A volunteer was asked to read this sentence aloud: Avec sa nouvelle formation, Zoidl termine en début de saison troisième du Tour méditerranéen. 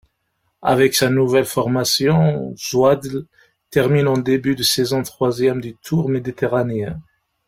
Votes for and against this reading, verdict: 1, 3, rejected